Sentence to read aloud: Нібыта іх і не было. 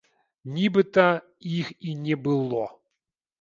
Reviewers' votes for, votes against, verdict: 1, 2, rejected